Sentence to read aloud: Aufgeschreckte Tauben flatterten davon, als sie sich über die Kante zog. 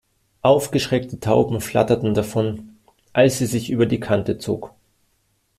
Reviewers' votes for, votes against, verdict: 2, 0, accepted